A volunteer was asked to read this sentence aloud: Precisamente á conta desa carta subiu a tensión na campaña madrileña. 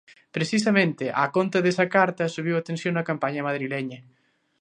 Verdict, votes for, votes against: accepted, 2, 0